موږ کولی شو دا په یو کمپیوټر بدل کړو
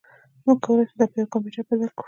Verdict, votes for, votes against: accepted, 2, 1